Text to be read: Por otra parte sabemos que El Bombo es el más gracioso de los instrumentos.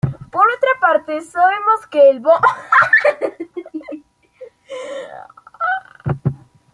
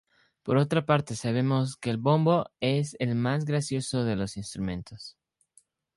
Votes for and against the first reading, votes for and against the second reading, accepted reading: 0, 2, 2, 0, second